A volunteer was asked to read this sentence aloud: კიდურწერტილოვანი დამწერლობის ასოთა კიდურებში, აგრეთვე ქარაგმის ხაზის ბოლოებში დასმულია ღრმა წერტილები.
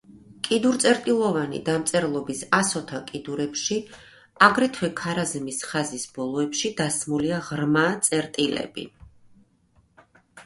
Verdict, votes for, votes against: rejected, 0, 2